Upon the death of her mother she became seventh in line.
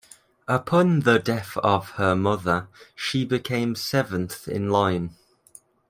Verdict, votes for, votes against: accepted, 2, 0